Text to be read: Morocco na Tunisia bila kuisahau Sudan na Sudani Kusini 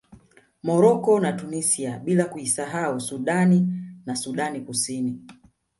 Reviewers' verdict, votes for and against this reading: rejected, 1, 2